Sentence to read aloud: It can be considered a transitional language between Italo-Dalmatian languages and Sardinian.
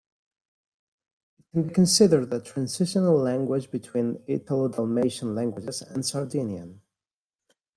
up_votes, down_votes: 0, 2